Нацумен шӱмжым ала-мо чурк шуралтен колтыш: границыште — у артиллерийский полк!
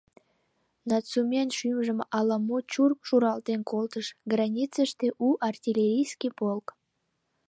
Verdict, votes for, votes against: accepted, 2, 0